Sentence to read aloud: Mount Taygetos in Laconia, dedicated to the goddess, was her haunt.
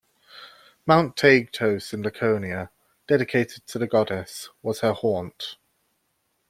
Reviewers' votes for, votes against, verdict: 2, 0, accepted